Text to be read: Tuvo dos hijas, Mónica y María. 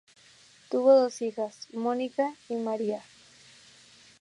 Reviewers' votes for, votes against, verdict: 2, 0, accepted